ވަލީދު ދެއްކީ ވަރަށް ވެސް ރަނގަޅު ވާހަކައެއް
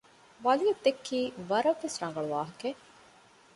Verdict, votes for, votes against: accepted, 2, 0